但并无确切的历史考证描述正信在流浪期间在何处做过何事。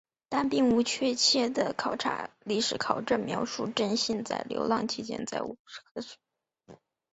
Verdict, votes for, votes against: rejected, 3, 5